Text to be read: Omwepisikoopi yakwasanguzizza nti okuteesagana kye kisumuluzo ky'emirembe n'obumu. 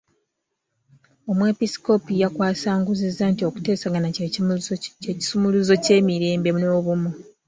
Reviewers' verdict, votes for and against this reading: rejected, 1, 3